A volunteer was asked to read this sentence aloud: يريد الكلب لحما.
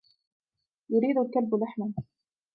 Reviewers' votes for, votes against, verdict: 2, 1, accepted